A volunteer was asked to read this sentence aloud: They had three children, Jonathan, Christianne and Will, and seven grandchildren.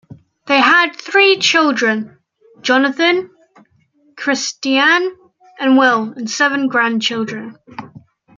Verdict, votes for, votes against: accepted, 2, 0